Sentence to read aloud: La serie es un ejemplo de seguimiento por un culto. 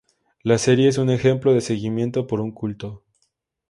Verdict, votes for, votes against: accepted, 4, 0